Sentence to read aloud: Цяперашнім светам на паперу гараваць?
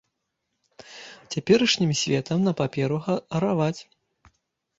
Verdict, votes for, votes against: rejected, 0, 2